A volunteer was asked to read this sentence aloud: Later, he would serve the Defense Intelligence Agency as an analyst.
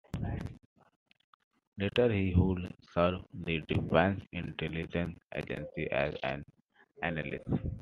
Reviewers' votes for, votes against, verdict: 2, 1, accepted